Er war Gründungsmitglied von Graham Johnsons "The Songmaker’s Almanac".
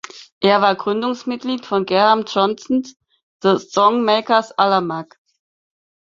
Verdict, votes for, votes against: rejected, 0, 4